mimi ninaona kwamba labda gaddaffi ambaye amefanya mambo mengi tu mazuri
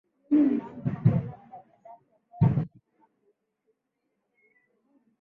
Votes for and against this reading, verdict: 0, 2, rejected